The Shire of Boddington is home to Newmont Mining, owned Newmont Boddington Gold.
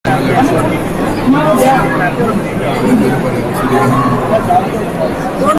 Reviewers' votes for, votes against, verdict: 0, 2, rejected